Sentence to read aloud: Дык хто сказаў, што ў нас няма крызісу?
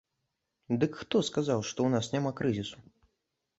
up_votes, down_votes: 2, 0